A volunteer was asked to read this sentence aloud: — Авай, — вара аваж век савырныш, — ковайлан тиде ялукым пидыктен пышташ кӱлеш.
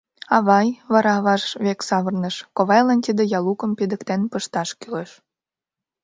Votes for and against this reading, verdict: 2, 0, accepted